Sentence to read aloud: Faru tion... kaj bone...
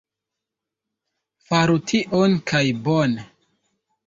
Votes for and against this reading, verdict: 0, 2, rejected